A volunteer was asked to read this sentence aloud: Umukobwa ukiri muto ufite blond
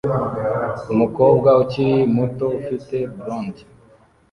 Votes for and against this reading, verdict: 2, 0, accepted